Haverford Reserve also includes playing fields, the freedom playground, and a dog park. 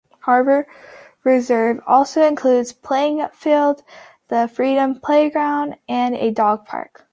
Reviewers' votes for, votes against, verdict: 0, 2, rejected